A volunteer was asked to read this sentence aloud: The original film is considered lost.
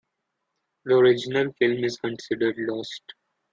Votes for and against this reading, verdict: 2, 0, accepted